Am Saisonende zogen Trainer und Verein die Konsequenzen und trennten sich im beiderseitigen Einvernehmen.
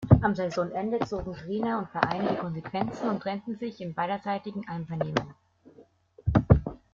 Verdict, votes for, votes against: accepted, 2, 0